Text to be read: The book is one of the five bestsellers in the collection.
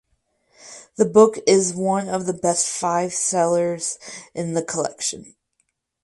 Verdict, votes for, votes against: rejected, 2, 4